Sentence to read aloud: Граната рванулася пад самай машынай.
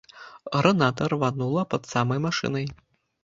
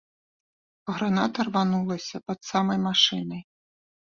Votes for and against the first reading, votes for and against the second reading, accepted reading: 0, 2, 2, 0, second